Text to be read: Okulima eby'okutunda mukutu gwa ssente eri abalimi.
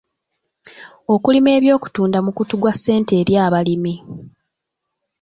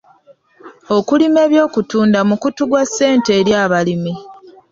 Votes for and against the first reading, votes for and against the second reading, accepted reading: 2, 0, 0, 2, first